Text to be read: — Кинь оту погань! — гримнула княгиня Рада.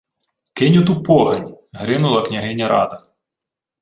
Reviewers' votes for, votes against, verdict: 2, 0, accepted